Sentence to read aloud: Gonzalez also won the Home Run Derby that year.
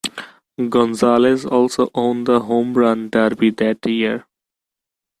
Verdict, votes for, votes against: rejected, 0, 2